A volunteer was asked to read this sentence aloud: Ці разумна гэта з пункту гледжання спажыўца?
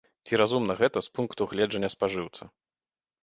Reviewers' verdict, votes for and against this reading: rejected, 0, 2